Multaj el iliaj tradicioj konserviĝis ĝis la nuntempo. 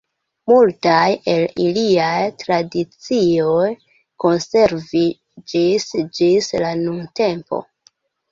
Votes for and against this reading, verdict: 0, 2, rejected